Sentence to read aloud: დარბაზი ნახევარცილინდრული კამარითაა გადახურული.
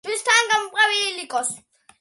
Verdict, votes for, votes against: rejected, 0, 2